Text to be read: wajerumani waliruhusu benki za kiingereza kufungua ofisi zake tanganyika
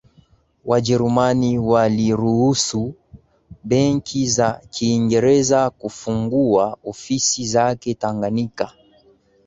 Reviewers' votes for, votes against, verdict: 0, 2, rejected